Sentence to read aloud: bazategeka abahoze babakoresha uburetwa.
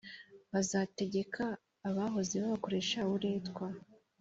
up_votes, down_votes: 2, 0